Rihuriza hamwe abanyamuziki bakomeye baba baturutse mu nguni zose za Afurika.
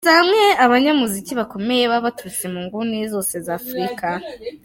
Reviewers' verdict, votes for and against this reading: rejected, 0, 2